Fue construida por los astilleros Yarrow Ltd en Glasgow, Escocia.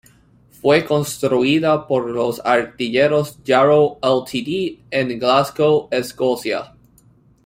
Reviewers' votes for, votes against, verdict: 0, 2, rejected